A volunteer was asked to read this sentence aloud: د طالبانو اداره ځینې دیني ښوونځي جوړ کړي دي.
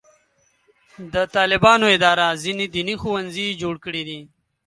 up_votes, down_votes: 2, 0